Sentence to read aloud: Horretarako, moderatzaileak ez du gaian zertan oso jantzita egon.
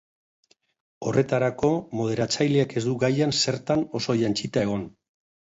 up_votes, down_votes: 1, 2